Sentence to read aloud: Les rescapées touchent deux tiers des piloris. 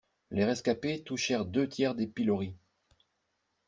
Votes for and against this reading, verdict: 0, 2, rejected